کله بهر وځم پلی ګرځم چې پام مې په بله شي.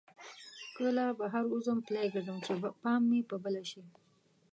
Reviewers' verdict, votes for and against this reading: rejected, 0, 2